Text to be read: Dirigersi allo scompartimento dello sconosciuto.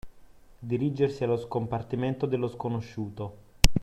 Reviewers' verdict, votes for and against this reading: accepted, 2, 0